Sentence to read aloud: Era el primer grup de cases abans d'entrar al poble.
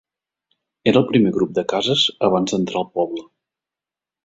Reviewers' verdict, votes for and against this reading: accepted, 3, 0